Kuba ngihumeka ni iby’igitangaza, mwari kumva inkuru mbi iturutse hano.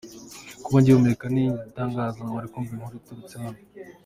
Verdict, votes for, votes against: rejected, 1, 2